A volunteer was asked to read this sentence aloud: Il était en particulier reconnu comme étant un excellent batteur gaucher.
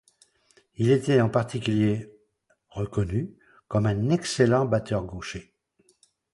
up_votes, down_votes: 1, 2